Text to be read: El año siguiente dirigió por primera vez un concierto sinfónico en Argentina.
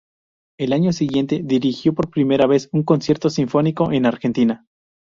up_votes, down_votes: 2, 0